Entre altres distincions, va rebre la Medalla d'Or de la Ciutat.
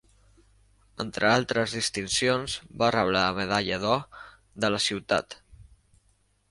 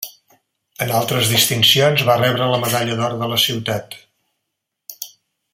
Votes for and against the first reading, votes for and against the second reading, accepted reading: 2, 0, 0, 2, first